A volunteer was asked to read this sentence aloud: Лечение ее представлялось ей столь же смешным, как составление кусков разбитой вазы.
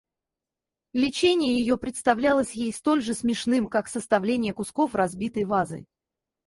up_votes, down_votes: 0, 4